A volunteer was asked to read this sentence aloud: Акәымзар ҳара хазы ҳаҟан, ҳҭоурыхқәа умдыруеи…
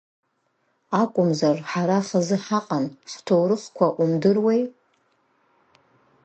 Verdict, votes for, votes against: accepted, 2, 0